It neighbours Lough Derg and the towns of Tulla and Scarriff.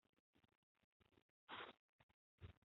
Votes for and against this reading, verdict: 0, 2, rejected